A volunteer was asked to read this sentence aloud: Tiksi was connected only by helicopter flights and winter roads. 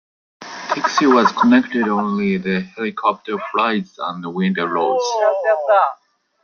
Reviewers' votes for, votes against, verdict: 0, 2, rejected